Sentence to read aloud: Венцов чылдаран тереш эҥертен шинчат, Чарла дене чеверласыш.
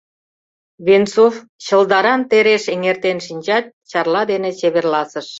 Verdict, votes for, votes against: accepted, 2, 0